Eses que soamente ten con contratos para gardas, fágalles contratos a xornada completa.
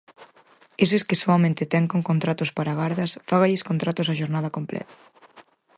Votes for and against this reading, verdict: 4, 0, accepted